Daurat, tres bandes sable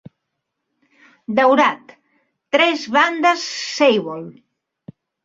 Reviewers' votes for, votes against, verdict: 0, 2, rejected